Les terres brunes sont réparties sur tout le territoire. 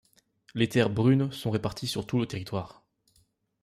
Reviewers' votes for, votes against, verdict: 2, 1, accepted